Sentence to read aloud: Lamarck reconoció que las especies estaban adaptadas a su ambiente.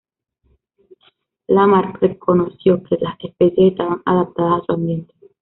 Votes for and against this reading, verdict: 2, 1, accepted